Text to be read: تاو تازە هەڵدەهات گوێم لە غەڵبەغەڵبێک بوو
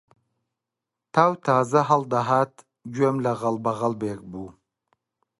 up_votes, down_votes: 2, 0